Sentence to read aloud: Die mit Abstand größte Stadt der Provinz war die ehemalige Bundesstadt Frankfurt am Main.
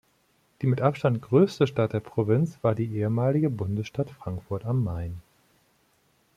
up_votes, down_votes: 2, 0